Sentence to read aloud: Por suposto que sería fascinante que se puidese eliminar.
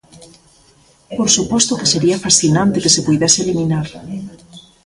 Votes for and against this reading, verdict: 1, 2, rejected